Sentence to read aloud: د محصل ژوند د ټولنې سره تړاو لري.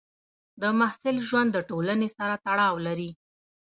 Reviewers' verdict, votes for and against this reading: accepted, 2, 0